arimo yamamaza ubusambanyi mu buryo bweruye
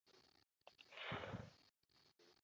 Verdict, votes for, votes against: rejected, 0, 2